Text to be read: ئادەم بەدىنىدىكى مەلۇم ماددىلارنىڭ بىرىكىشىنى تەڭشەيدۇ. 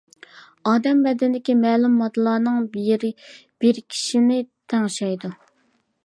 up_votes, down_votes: 0, 2